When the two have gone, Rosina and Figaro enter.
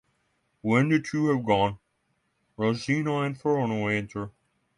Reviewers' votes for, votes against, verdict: 3, 3, rejected